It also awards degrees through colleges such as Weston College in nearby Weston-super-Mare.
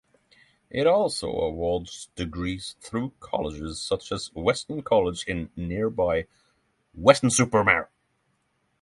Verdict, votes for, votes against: accepted, 3, 0